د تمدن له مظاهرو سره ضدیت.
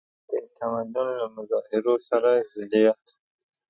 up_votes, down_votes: 0, 2